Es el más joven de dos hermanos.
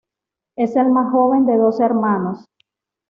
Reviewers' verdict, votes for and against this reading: accepted, 2, 0